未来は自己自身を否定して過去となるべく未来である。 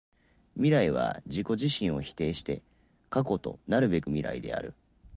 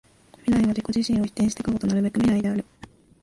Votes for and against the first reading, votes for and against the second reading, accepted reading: 4, 0, 1, 2, first